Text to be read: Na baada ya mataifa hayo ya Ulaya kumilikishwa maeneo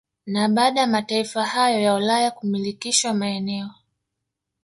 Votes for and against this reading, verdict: 1, 2, rejected